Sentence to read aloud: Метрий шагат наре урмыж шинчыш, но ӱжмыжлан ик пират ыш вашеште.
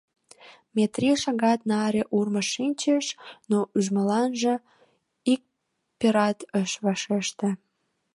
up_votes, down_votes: 1, 2